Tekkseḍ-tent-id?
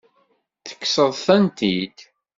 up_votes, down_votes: 2, 0